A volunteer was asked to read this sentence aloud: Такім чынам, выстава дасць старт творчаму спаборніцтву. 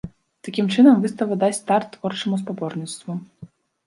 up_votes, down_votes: 0, 2